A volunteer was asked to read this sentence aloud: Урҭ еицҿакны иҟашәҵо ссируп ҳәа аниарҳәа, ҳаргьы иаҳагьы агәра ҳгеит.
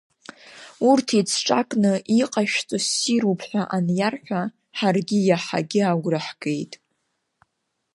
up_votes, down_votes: 2, 0